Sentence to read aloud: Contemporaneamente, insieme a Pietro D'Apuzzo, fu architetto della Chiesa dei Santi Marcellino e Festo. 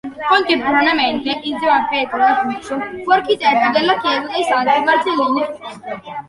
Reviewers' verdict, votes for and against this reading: rejected, 0, 2